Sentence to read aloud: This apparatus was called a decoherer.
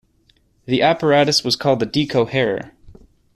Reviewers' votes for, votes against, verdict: 0, 2, rejected